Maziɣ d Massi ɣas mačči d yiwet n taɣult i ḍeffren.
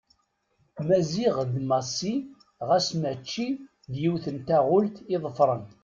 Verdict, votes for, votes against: accepted, 2, 0